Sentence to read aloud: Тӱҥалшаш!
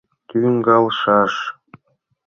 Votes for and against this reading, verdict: 1, 2, rejected